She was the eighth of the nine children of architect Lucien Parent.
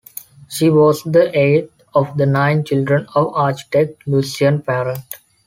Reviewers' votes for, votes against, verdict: 2, 0, accepted